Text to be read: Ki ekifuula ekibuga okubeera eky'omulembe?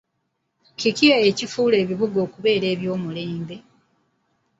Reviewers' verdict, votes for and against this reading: rejected, 0, 2